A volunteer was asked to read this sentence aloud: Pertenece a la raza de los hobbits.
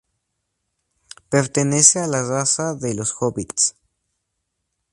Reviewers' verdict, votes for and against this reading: accepted, 2, 0